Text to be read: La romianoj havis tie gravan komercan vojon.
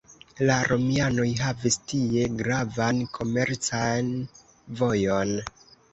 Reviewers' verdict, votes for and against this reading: accepted, 2, 1